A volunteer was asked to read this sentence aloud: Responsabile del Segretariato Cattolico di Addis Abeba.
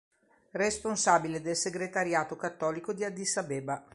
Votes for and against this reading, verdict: 2, 0, accepted